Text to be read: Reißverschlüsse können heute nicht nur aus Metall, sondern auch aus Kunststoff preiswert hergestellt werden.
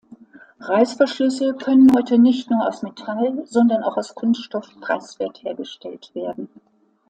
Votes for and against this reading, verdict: 2, 0, accepted